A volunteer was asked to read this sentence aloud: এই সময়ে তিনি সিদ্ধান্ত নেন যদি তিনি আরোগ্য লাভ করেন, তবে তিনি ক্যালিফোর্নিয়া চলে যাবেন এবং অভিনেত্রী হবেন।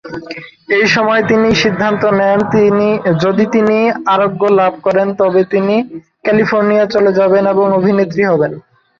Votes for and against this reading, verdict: 0, 2, rejected